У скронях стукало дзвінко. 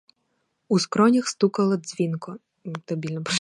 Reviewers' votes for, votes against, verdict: 0, 4, rejected